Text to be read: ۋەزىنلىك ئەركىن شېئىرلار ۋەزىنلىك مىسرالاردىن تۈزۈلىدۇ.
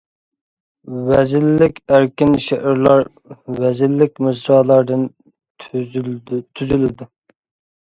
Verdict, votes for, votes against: rejected, 0, 2